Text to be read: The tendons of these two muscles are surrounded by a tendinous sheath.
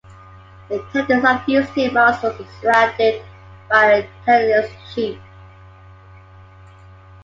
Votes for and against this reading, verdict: 0, 2, rejected